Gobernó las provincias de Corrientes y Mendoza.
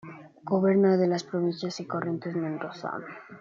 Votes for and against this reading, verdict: 1, 2, rejected